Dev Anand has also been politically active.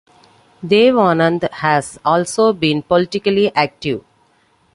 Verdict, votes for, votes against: accepted, 2, 1